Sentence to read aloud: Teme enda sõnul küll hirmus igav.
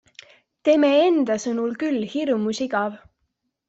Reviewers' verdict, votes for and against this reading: accepted, 2, 0